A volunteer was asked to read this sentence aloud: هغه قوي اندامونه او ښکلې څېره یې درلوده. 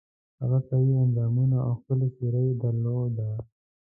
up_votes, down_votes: 2, 0